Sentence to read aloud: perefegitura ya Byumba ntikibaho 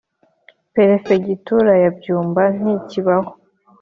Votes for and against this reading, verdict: 3, 0, accepted